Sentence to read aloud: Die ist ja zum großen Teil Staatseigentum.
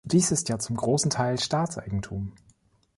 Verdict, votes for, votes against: rejected, 1, 2